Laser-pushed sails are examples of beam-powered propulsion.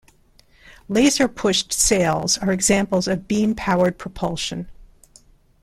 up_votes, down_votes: 2, 0